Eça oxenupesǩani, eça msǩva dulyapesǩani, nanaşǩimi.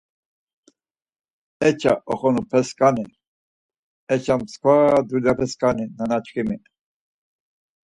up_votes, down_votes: 4, 0